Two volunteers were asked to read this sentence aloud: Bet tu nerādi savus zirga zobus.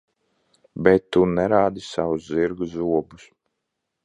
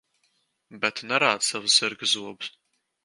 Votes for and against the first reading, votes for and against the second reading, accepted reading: 2, 1, 1, 2, first